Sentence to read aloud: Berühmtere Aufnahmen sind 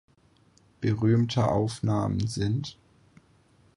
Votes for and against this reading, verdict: 0, 4, rejected